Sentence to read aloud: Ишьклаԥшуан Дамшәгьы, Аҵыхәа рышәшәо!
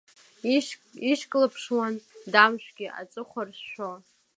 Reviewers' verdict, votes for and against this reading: accepted, 2, 0